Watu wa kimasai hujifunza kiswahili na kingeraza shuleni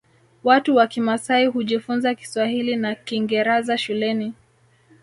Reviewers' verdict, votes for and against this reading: rejected, 1, 2